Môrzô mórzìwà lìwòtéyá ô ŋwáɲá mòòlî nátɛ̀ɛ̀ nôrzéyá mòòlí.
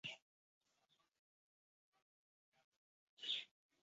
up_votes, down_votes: 1, 2